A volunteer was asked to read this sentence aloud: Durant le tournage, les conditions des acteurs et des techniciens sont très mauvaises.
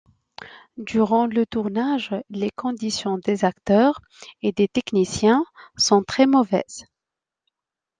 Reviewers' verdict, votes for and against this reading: accepted, 2, 0